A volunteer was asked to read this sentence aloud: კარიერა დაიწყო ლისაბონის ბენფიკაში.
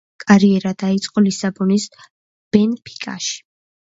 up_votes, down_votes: 0, 2